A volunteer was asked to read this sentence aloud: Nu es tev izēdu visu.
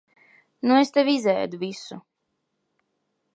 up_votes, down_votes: 2, 0